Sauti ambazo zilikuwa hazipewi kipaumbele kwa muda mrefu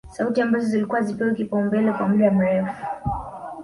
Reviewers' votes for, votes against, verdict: 2, 1, accepted